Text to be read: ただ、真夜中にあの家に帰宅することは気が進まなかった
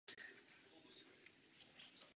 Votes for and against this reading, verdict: 1, 2, rejected